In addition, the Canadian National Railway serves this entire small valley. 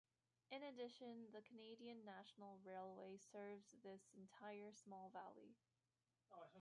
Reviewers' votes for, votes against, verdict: 1, 3, rejected